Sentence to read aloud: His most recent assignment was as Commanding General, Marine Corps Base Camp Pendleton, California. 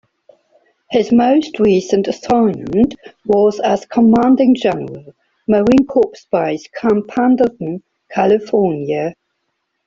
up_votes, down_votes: 2, 0